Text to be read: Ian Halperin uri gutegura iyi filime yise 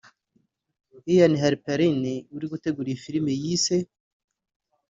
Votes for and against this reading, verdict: 2, 0, accepted